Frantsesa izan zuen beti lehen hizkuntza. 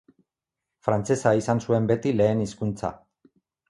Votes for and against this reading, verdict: 4, 0, accepted